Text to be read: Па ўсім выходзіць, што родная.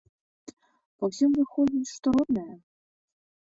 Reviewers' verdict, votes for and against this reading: accepted, 2, 0